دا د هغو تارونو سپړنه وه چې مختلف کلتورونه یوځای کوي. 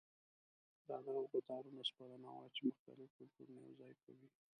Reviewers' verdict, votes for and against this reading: rejected, 0, 2